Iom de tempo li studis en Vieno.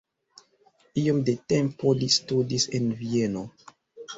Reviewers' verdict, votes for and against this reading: accepted, 2, 1